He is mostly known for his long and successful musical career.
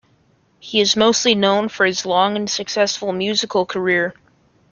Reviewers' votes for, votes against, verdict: 2, 1, accepted